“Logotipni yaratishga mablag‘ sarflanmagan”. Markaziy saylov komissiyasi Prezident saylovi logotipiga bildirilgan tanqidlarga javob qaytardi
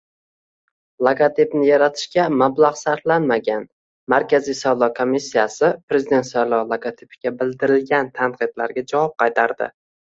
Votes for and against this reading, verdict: 2, 0, accepted